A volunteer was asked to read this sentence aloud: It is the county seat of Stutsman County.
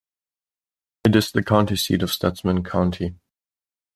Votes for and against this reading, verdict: 2, 0, accepted